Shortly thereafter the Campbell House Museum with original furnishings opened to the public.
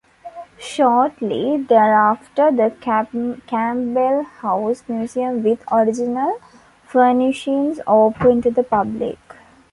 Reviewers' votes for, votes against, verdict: 1, 2, rejected